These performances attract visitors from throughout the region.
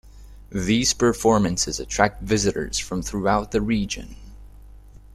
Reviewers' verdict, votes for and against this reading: accepted, 2, 0